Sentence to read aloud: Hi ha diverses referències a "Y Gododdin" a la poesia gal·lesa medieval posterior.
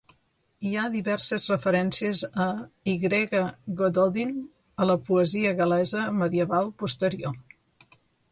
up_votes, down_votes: 1, 2